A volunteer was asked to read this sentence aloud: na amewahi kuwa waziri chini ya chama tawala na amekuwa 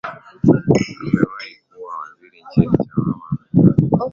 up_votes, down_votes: 0, 2